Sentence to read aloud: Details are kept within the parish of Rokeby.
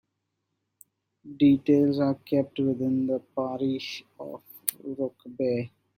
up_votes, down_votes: 2, 0